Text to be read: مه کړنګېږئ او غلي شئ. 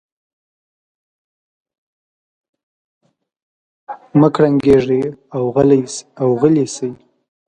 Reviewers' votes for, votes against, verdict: 0, 2, rejected